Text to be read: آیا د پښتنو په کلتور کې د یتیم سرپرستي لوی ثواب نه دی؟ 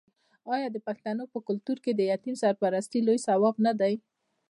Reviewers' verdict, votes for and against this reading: rejected, 1, 2